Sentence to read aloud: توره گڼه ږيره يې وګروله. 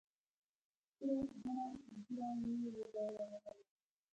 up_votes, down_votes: 1, 2